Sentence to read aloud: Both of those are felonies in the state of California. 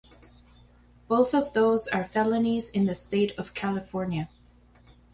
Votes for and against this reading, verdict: 4, 0, accepted